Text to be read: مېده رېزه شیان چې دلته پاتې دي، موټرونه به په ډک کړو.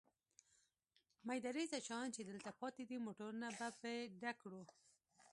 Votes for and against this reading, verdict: 2, 1, accepted